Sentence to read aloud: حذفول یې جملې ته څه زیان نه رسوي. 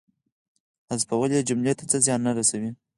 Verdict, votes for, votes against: accepted, 4, 2